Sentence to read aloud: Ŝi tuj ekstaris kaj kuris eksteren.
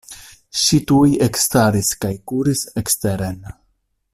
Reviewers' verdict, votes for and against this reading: accepted, 2, 0